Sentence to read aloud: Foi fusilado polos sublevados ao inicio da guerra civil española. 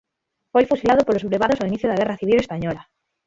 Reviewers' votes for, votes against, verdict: 0, 6, rejected